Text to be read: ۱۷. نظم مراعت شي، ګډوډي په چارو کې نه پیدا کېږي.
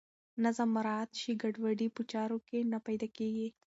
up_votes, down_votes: 0, 2